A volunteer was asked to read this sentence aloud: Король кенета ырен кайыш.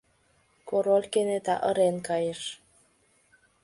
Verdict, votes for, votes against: accepted, 2, 0